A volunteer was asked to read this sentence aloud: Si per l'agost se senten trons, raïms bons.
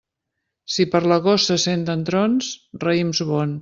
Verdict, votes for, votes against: rejected, 0, 2